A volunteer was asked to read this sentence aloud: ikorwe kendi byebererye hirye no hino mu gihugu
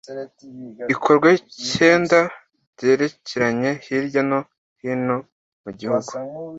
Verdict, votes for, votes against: rejected, 0, 2